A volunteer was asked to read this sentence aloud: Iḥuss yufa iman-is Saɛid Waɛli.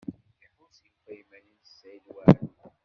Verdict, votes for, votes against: rejected, 0, 2